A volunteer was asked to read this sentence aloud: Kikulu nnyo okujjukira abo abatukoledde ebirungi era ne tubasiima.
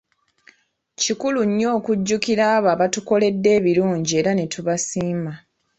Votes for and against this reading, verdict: 0, 2, rejected